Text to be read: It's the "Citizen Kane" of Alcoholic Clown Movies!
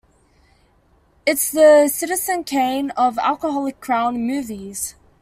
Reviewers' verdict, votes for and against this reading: accepted, 2, 1